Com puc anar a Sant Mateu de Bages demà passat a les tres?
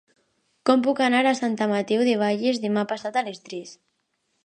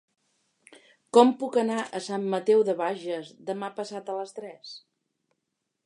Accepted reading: second